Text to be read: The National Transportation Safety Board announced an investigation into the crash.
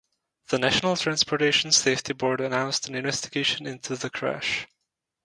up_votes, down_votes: 2, 2